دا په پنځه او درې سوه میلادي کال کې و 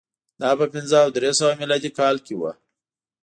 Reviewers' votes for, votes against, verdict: 2, 0, accepted